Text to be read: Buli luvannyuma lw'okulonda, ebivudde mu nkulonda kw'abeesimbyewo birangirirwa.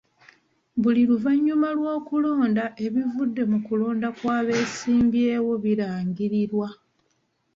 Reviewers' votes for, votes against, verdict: 1, 2, rejected